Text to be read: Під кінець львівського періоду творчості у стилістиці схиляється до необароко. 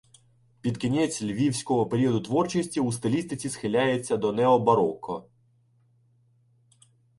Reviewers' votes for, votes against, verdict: 1, 2, rejected